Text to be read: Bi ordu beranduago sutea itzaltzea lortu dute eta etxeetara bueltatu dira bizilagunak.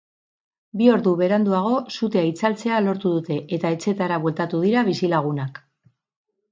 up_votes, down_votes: 4, 0